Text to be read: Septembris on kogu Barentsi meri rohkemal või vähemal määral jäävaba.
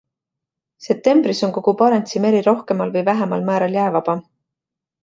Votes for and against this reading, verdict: 2, 0, accepted